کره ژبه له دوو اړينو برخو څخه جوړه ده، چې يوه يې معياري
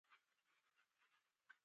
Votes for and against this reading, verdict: 1, 2, rejected